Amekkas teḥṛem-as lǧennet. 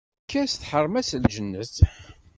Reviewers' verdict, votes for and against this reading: rejected, 1, 2